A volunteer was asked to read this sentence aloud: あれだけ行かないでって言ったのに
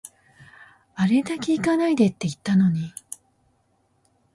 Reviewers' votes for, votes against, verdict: 2, 0, accepted